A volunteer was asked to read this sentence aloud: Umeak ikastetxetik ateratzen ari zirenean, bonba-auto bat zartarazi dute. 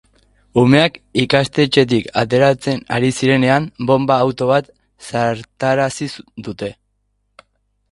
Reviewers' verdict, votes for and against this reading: accepted, 2, 0